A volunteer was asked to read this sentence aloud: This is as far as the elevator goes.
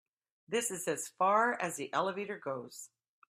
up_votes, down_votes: 2, 0